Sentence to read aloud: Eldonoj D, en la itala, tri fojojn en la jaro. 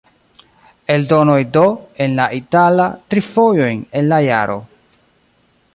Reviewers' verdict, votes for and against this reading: rejected, 1, 2